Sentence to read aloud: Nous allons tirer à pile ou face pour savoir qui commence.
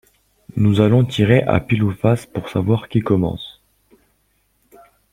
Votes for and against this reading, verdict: 2, 0, accepted